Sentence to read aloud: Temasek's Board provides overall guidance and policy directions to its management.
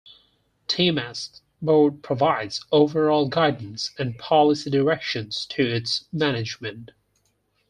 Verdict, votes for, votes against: accepted, 4, 0